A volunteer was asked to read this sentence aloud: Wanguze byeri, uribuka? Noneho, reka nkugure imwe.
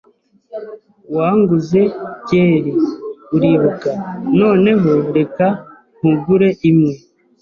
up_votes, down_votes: 2, 0